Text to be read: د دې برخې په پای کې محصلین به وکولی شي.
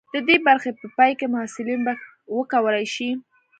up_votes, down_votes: 2, 0